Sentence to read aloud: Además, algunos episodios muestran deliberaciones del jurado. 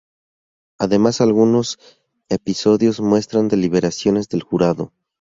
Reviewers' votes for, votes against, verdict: 4, 0, accepted